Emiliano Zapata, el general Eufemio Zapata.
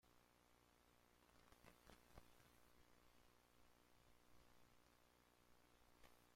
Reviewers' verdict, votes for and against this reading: rejected, 0, 2